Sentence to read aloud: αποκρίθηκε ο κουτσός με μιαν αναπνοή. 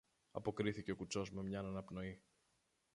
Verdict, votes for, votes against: accepted, 2, 1